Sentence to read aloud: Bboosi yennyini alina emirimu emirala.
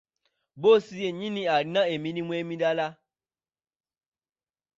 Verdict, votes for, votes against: accepted, 2, 0